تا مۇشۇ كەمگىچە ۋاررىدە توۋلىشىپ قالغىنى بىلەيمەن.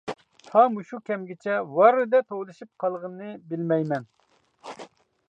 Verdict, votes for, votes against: rejected, 0, 2